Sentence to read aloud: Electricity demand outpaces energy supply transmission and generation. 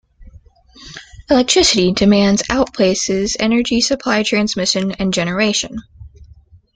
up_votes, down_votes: 2, 1